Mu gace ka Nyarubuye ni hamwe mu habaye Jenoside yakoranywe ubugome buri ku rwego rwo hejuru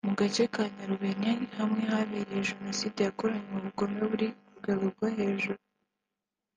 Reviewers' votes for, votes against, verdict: 0, 2, rejected